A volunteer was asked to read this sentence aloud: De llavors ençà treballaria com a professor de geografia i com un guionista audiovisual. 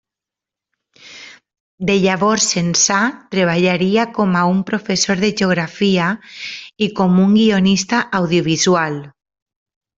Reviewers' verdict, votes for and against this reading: rejected, 0, 2